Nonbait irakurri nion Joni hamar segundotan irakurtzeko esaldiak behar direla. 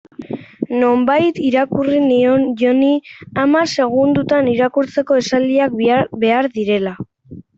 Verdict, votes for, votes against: rejected, 1, 2